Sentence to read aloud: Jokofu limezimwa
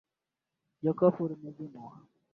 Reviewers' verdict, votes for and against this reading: rejected, 1, 2